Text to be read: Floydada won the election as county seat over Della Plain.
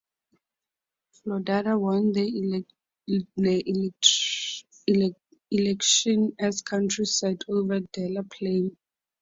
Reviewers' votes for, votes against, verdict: 0, 4, rejected